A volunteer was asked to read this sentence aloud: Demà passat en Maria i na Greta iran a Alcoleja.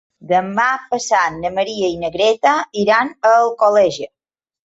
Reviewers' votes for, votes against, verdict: 1, 2, rejected